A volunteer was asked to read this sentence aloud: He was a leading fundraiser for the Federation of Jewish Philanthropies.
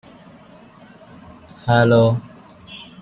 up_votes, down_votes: 0, 3